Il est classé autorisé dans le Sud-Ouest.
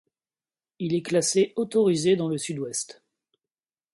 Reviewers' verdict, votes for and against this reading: accepted, 2, 0